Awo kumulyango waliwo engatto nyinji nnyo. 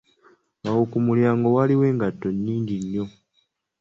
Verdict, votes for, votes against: accepted, 2, 1